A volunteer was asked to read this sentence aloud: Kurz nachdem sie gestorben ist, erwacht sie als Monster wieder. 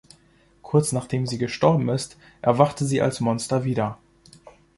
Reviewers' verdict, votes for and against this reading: rejected, 0, 2